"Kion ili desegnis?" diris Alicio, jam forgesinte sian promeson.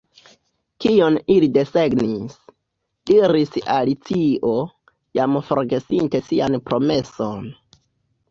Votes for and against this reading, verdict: 2, 0, accepted